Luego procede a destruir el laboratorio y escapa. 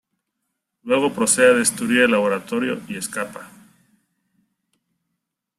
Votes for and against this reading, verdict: 2, 0, accepted